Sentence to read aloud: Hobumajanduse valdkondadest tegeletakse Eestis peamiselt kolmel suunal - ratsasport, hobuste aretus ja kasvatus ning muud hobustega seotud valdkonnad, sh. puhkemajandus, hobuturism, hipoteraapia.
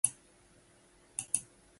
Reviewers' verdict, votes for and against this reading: rejected, 0, 2